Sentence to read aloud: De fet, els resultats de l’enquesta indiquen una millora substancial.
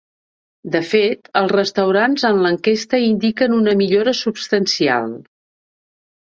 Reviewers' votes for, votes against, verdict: 1, 2, rejected